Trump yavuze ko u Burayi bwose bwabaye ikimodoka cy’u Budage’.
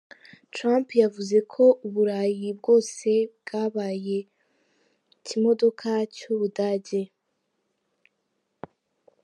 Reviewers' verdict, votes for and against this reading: accepted, 2, 0